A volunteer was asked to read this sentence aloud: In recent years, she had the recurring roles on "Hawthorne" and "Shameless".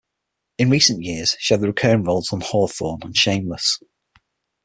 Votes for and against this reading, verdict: 6, 3, accepted